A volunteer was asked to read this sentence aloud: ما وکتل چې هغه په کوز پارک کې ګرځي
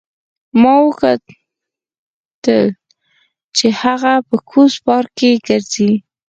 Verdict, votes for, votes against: accepted, 4, 0